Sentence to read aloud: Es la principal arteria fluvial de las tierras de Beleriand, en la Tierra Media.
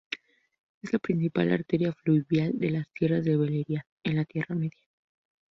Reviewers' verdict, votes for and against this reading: rejected, 0, 2